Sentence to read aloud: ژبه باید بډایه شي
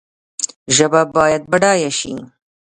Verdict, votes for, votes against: accepted, 2, 0